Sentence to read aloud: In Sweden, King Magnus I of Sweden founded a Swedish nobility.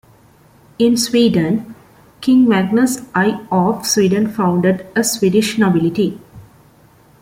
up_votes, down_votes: 0, 2